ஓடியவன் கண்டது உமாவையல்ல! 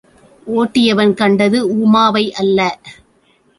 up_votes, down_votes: 0, 2